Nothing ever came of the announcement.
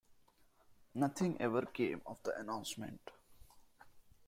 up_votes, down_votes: 2, 0